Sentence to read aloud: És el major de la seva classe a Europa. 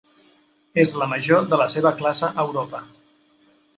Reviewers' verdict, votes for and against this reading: rejected, 1, 2